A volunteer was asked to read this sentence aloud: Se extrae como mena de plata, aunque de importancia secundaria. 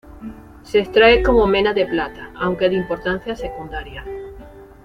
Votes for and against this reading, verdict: 1, 2, rejected